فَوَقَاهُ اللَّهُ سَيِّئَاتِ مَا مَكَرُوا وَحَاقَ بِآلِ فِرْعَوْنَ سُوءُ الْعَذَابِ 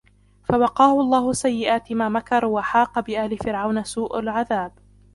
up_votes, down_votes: 0, 2